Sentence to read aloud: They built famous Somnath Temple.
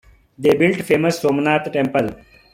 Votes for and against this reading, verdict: 2, 1, accepted